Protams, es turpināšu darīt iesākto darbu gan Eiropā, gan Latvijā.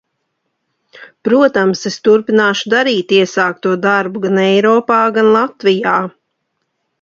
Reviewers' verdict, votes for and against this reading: accepted, 2, 0